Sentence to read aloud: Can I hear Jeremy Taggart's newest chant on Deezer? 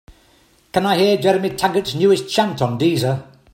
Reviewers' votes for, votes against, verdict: 3, 0, accepted